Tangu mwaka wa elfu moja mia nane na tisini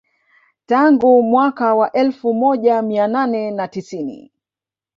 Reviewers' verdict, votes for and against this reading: accepted, 2, 0